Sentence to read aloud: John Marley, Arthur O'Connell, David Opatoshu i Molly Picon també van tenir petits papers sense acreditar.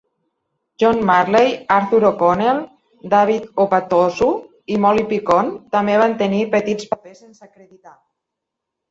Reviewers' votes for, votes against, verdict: 1, 2, rejected